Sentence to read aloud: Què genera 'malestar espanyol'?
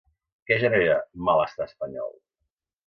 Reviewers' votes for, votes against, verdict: 2, 0, accepted